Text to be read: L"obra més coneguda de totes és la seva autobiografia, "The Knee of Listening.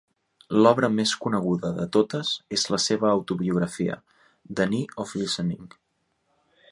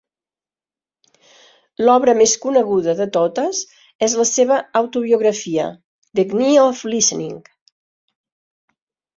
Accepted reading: second